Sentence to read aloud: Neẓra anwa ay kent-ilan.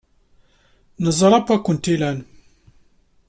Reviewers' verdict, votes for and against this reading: accepted, 2, 0